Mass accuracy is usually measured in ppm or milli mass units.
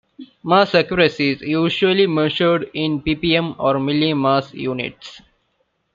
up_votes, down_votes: 2, 0